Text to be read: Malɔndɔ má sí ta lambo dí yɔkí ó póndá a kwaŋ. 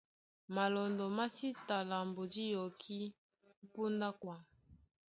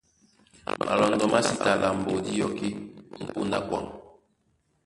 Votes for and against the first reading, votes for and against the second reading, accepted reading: 2, 0, 1, 2, first